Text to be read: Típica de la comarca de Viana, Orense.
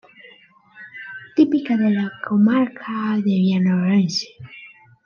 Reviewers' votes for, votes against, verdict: 0, 2, rejected